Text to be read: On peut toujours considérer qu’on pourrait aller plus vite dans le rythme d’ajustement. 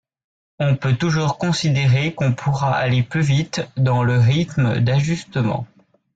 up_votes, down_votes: 1, 2